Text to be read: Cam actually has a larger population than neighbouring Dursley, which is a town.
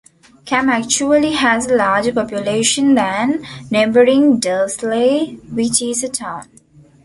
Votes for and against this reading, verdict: 2, 0, accepted